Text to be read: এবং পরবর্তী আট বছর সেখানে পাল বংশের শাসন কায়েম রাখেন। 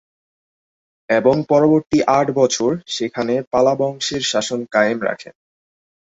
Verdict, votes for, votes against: rejected, 0, 8